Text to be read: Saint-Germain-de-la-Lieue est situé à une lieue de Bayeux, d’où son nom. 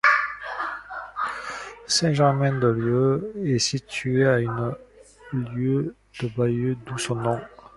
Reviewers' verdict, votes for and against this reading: rejected, 0, 2